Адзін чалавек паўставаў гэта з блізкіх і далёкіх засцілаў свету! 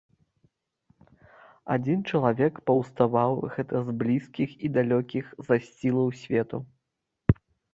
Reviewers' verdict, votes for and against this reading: rejected, 1, 2